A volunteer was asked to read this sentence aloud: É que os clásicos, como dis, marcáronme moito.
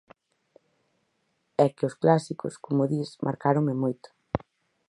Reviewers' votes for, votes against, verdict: 4, 0, accepted